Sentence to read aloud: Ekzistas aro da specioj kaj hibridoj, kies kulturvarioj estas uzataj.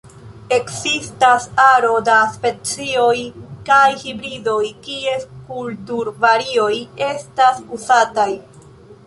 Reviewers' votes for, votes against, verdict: 2, 0, accepted